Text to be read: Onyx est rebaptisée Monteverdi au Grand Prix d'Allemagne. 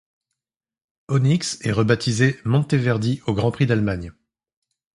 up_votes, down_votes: 2, 0